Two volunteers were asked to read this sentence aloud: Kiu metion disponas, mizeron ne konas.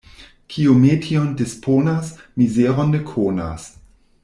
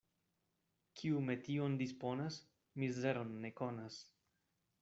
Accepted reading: second